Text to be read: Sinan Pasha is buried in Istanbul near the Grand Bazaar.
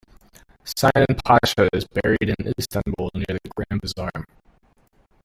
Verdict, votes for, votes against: rejected, 0, 2